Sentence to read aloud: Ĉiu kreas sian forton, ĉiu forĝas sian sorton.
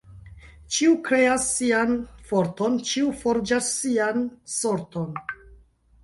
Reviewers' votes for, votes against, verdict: 1, 2, rejected